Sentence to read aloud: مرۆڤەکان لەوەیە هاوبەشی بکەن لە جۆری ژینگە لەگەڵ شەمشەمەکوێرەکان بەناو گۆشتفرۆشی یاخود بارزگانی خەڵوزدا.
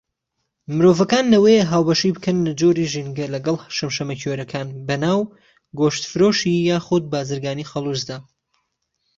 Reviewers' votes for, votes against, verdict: 2, 1, accepted